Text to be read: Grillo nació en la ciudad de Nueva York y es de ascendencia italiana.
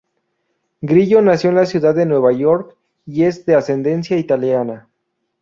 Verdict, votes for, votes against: accepted, 4, 0